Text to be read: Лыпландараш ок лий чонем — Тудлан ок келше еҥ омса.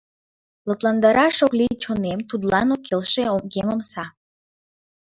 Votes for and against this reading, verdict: 1, 2, rejected